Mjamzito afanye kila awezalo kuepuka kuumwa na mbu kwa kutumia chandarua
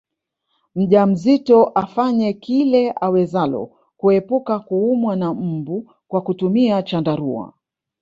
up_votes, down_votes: 0, 2